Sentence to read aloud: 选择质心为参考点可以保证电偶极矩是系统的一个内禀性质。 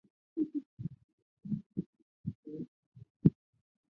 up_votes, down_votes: 0, 3